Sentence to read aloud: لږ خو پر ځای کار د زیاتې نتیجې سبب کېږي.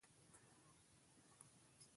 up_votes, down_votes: 2, 1